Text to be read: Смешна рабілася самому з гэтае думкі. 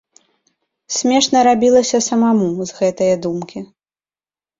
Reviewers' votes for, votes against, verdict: 0, 2, rejected